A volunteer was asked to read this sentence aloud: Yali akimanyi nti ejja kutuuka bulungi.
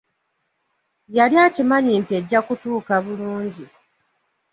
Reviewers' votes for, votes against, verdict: 2, 0, accepted